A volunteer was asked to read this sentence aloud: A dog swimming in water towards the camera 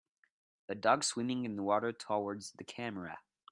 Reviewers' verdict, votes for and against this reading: rejected, 0, 2